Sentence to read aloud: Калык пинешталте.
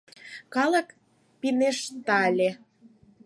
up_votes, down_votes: 0, 4